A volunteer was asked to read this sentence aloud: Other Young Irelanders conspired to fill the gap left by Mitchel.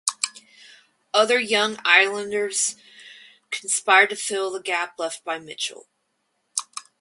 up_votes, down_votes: 2, 0